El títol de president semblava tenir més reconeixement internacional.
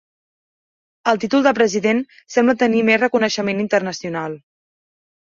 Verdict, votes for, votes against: rejected, 0, 2